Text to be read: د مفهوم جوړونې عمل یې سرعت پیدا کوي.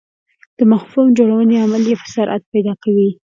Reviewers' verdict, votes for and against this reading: accepted, 2, 0